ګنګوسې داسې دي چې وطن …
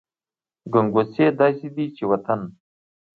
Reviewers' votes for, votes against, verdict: 2, 1, accepted